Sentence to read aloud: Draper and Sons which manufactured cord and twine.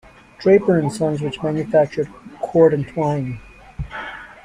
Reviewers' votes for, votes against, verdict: 2, 0, accepted